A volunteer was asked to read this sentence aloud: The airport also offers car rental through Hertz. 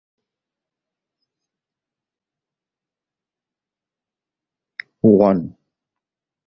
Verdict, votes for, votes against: rejected, 0, 2